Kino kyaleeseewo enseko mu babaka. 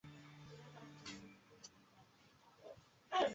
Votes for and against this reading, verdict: 0, 3, rejected